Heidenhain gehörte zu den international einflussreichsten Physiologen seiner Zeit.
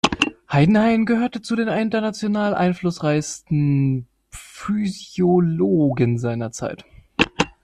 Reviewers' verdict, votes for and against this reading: rejected, 1, 2